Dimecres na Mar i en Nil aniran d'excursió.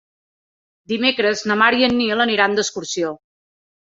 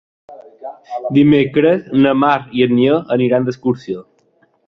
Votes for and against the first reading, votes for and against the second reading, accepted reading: 3, 0, 1, 2, first